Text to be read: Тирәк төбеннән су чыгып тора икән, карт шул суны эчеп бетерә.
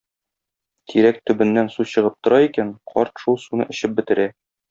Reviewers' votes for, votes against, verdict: 1, 2, rejected